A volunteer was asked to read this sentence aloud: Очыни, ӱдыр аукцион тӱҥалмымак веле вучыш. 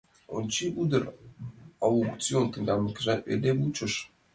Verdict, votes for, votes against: rejected, 0, 2